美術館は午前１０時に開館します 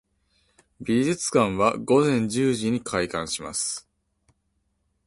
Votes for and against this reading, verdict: 0, 2, rejected